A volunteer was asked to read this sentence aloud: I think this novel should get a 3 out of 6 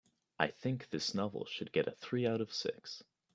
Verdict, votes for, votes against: rejected, 0, 2